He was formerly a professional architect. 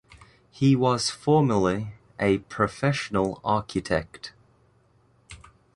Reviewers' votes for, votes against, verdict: 2, 0, accepted